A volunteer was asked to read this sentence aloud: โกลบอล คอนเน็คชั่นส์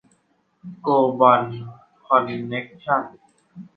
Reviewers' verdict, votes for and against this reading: accepted, 2, 1